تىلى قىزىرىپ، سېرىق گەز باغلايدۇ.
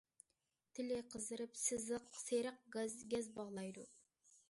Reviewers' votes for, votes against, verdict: 0, 2, rejected